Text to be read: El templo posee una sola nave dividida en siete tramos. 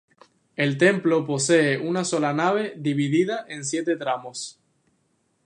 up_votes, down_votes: 2, 0